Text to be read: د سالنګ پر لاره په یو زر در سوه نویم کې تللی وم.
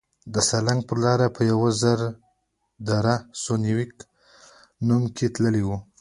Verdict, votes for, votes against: accepted, 3, 0